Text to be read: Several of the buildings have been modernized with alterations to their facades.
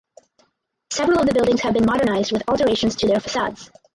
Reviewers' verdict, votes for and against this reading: rejected, 2, 2